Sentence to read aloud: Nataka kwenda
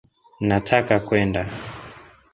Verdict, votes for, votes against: accepted, 4, 1